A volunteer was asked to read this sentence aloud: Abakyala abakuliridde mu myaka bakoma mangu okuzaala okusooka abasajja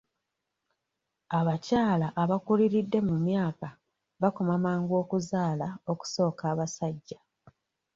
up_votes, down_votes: 2, 1